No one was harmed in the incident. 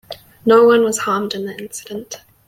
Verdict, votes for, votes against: accepted, 3, 0